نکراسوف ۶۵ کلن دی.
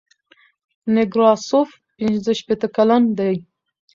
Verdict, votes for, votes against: rejected, 0, 2